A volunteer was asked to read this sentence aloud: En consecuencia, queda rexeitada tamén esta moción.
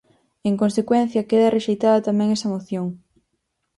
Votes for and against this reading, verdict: 2, 4, rejected